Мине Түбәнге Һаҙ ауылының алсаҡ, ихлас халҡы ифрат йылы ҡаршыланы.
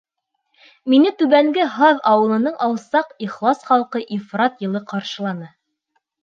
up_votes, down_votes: 2, 0